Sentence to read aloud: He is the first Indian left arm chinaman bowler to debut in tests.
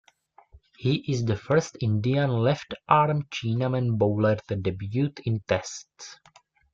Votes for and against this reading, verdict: 1, 2, rejected